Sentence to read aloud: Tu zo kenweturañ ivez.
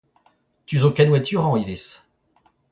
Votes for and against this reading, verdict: 2, 1, accepted